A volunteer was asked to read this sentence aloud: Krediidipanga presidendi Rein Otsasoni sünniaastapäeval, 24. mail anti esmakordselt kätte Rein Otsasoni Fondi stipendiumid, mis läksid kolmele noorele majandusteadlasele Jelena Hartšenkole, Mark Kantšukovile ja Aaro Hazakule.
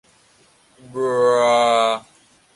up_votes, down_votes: 0, 2